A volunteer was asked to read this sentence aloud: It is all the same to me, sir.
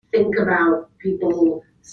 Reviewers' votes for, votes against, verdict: 0, 2, rejected